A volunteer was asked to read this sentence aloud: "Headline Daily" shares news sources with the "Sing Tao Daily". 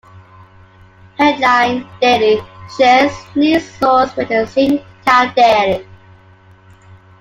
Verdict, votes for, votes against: rejected, 1, 2